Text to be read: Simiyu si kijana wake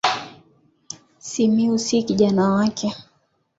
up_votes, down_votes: 2, 0